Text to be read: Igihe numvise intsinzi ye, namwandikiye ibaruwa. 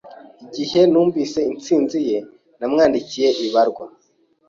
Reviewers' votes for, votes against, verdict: 1, 2, rejected